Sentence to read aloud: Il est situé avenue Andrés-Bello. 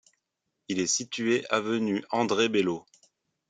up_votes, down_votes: 1, 3